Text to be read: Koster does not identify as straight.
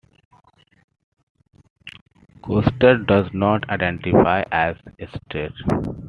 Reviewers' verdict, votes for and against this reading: accepted, 2, 0